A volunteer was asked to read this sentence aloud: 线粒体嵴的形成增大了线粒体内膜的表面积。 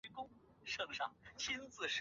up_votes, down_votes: 1, 2